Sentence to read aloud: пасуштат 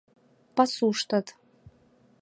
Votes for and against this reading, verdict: 2, 0, accepted